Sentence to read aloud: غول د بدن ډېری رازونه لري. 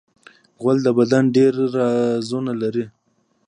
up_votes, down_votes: 2, 0